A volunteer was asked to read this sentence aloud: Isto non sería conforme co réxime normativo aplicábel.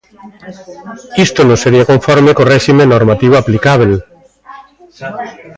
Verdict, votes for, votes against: accepted, 2, 0